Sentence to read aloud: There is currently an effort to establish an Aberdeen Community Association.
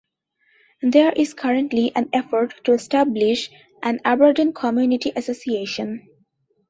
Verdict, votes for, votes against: accepted, 2, 1